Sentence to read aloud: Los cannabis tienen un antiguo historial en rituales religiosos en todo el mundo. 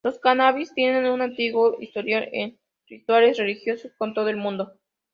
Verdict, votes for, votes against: rejected, 0, 2